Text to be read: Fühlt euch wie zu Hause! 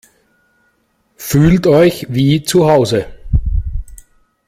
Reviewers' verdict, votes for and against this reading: accepted, 2, 0